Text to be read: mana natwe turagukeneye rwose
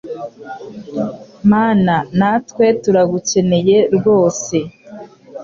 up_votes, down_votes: 2, 0